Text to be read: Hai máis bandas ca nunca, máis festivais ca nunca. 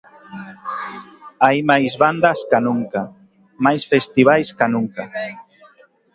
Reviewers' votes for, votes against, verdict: 2, 0, accepted